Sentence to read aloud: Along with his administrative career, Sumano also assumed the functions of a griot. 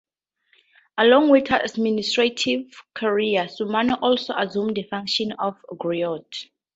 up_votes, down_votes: 0, 2